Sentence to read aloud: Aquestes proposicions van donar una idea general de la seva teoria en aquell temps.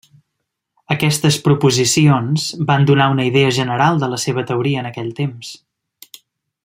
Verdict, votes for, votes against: accepted, 3, 0